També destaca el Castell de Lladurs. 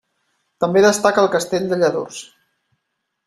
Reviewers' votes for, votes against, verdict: 3, 0, accepted